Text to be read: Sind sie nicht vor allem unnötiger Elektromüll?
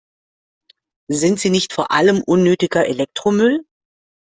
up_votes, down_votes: 3, 0